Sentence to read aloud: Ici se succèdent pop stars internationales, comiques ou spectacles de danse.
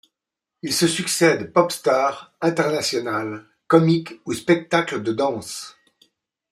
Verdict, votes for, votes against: rejected, 1, 2